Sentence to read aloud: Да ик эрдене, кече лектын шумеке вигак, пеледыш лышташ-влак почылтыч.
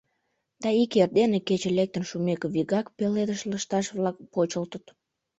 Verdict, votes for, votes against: rejected, 0, 2